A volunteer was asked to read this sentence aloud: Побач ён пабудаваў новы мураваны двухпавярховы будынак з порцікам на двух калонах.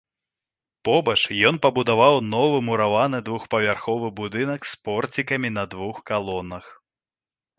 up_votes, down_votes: 2, 1